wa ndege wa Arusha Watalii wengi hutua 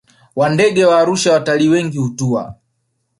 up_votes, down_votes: 1, 2